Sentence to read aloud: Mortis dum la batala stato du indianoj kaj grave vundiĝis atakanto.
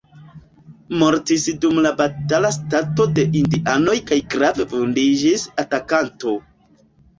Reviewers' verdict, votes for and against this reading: rejected, 0, 2